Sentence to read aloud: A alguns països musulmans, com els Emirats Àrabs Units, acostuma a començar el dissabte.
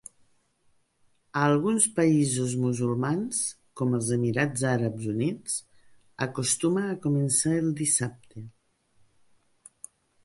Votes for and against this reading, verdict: 1, 2, rejected